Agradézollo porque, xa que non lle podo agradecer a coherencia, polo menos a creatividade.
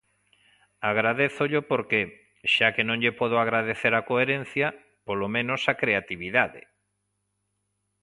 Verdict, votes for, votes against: accepted, 2, 0